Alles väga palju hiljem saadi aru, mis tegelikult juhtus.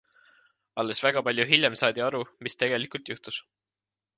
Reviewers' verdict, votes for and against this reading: accepted, 2, 0